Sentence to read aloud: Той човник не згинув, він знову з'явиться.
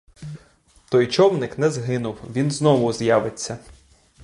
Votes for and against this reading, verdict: 2, 0, accepted